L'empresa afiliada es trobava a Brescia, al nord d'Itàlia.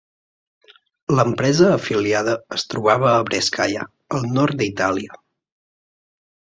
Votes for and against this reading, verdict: 2, 1, accepted